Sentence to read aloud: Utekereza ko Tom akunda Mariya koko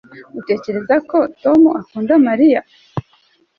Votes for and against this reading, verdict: 1, 2, rejected